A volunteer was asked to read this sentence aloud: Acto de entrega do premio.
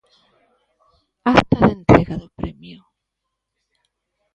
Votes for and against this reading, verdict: 1, 2, rejected